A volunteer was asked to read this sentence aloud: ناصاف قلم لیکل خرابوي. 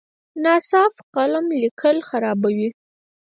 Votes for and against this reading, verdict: 0, 4, rejected